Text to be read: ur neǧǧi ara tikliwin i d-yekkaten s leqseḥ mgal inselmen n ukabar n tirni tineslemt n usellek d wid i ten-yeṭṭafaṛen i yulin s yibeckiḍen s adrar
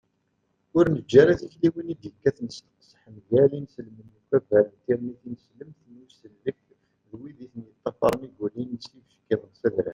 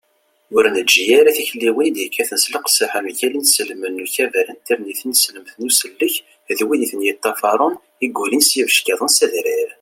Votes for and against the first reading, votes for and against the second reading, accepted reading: 1, 2, 2, 0, second